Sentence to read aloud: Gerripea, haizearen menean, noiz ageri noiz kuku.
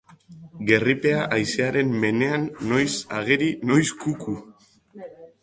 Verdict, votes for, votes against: accepted, 2, 0